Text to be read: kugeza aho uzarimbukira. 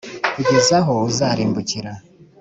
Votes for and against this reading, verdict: 2, 0, accepted